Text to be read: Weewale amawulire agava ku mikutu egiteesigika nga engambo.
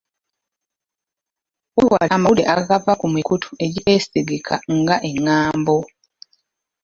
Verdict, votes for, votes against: rejected, 0, 2